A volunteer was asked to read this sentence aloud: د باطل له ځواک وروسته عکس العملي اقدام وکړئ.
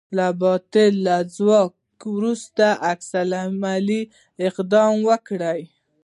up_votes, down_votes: 1, 2